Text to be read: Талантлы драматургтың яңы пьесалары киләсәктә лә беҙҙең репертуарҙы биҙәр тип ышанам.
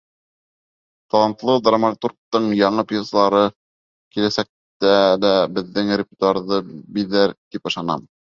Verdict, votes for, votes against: rejected, 0, 2